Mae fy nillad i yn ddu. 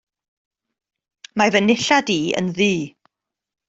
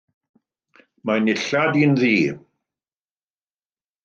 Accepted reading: first